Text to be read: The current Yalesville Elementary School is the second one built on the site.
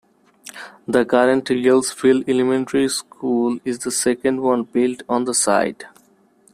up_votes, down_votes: 0, 2